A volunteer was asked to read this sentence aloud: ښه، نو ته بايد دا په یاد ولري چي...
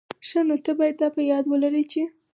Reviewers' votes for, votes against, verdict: 4, 0, accepted